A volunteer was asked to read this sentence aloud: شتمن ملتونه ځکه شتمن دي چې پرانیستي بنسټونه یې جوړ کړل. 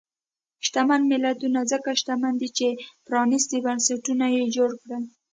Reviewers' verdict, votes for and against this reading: accepted, 2, 0